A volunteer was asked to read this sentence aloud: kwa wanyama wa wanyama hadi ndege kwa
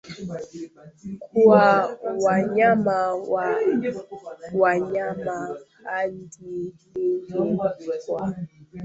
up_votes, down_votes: 0, 2